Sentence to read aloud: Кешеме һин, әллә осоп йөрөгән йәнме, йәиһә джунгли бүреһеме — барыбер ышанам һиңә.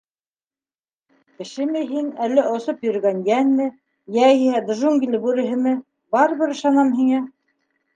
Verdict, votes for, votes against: accepted, 3, 1